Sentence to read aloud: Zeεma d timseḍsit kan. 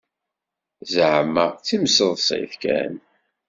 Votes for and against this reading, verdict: 2, 0, accepted